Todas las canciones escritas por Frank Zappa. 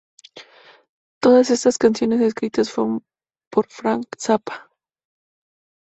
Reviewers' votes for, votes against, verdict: 2, 0, accepted